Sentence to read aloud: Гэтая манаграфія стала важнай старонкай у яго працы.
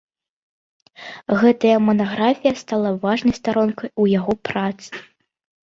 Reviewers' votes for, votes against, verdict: 2, 0, accepted